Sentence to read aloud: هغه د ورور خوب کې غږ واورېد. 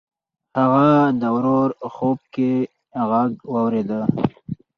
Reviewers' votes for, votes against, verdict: 4, 2, accepted